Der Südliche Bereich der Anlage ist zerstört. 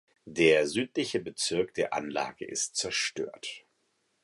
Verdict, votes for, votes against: rejected, 0, 4